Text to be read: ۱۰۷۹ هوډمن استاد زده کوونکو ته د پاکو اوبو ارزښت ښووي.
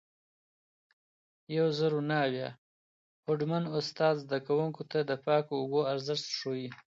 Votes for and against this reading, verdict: 0, 2, rejected